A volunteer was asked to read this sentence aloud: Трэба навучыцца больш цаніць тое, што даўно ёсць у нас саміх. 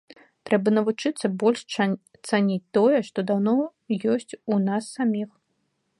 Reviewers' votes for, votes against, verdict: 0, 2, rejected